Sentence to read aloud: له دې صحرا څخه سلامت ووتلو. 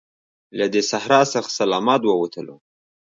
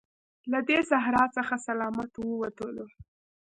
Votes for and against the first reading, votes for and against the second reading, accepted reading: 2, 0, 1, 2, first